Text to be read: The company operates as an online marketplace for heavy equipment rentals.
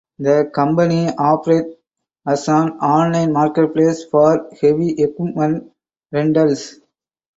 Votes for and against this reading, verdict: 4, 2, accepted